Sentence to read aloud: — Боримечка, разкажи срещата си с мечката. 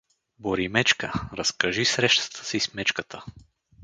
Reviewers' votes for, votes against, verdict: 2, 0, accepted